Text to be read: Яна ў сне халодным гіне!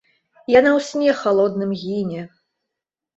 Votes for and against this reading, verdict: 2, 0, accepted